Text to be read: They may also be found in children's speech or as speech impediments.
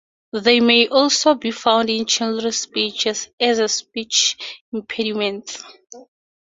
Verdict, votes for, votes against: accepted, 4, 2